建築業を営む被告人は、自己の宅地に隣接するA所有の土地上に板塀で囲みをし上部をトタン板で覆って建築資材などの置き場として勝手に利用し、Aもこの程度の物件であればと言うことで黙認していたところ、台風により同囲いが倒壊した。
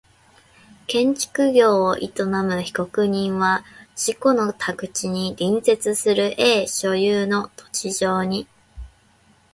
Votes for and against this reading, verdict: 1, 2, rejected